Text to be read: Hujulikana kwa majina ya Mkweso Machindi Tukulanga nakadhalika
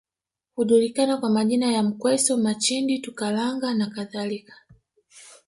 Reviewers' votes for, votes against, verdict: 1, 2, rejected